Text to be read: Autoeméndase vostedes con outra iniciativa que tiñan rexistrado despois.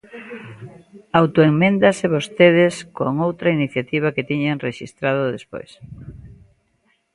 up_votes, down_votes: 2, 0